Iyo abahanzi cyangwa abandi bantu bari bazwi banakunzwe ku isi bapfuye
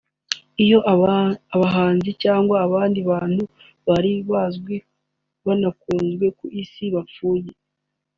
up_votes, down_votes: 2, 1